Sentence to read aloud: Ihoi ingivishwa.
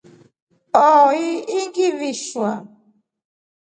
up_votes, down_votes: 3, 0